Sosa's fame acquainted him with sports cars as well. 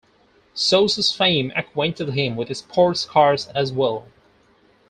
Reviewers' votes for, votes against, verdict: 4, 2, accepted